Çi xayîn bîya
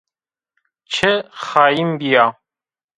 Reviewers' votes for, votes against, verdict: 0, 2, rejected